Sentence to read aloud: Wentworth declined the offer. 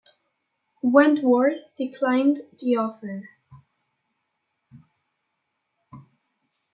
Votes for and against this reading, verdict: 2, 1, accepted